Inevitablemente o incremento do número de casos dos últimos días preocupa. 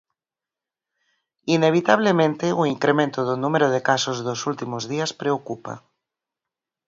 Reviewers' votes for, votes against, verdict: 4, 0, accepted